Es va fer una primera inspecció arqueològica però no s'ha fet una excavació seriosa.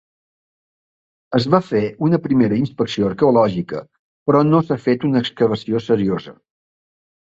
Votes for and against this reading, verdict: 3, 0, accepted